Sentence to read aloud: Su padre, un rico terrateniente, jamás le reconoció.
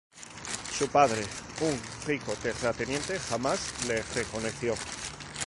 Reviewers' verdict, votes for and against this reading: rejected, 0, 2